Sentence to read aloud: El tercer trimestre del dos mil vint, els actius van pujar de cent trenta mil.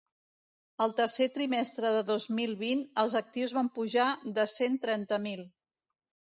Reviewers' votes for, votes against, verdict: 1, 2, rejected